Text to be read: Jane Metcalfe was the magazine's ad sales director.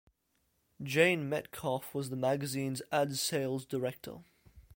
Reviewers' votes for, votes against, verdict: 2, 0, accepted